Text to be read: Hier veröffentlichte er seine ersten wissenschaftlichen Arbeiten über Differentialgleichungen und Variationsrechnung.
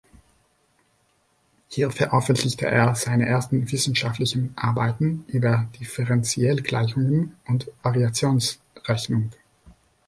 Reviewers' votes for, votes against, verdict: 0, 2, rejected